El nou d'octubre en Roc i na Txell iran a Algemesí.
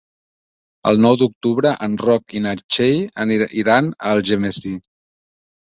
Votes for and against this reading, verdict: 1, 2, rejected